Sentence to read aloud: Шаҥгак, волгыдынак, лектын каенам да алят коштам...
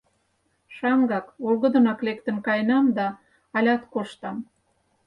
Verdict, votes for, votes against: accepted, 4, 0